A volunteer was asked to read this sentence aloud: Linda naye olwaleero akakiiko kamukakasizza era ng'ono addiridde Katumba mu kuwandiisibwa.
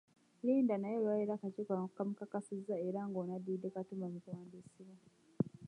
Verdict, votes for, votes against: rejected, 0, 2